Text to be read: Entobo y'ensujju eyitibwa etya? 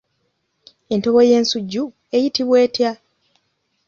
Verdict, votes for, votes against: accepted, 2, 0